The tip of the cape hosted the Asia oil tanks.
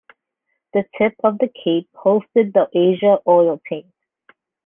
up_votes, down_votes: 1, 2